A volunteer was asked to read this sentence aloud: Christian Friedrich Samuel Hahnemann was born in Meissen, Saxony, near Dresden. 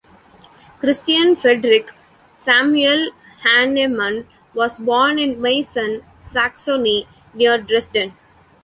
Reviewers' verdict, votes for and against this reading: accepted, 2, 0